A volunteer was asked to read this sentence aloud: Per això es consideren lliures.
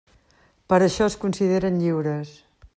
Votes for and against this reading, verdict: 3, 0, accepted